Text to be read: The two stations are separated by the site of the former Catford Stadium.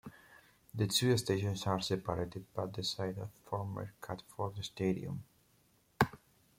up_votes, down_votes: 1, 2